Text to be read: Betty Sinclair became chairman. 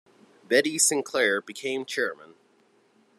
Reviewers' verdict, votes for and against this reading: accepted, 2, 0